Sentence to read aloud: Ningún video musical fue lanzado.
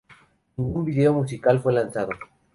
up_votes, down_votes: 4, 0